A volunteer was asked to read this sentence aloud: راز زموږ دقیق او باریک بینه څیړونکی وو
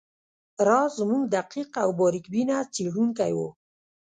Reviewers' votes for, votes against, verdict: 2, 0, accepted